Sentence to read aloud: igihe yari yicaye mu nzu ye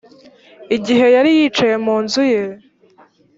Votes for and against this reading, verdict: 4, 0, accepted